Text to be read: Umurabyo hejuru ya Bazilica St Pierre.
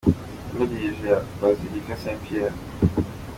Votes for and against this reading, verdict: 2, 1, accepted